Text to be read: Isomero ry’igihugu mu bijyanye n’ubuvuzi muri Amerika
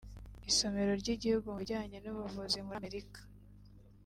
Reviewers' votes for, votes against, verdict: 2, 1, accepted